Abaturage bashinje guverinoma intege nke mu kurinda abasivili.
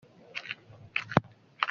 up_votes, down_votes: 0, 2